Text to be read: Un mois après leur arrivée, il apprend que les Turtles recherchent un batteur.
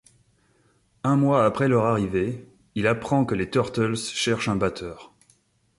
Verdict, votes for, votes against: rejected, 0, 2